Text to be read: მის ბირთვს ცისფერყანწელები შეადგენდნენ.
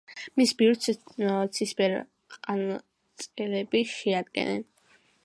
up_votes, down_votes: 1, 2